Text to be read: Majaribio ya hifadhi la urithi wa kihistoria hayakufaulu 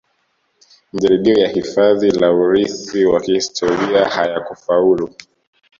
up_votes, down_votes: 2, 0